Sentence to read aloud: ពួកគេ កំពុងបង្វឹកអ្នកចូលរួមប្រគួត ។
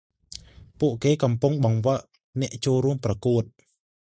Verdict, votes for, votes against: accepted, 2, 0